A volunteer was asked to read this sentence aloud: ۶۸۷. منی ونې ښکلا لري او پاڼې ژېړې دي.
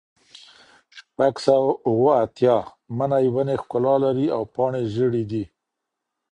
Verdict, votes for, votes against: rejected, 0, 2